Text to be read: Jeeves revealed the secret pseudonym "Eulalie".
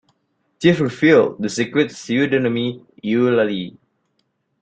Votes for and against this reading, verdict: 0, 2, rejected